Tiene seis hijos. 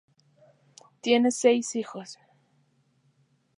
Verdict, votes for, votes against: accepted, 2, 0